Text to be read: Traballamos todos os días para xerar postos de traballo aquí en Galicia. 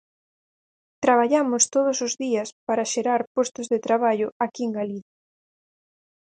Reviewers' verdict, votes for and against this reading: rejected, 2, 4